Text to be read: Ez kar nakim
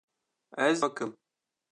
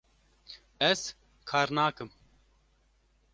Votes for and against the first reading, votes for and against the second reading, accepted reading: 0, 2, 2, 0, second